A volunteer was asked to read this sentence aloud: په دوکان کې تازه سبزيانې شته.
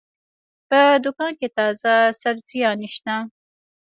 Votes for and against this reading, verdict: 2, 0, accepted